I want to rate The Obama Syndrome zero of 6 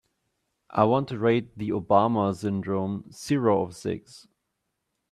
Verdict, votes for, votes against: rejected, 0, 2